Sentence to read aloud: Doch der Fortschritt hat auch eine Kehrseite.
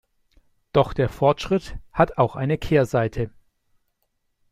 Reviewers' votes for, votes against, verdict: 2, 0, accepted